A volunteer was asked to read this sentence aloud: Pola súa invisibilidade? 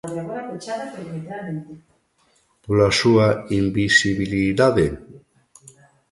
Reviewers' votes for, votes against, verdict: 1, 2, rejected